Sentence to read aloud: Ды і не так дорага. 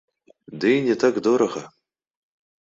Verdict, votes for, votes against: rejected, 1, 3